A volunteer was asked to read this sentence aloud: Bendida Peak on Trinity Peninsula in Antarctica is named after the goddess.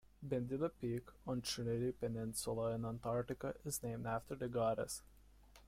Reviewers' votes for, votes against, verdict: 2, 1, accepted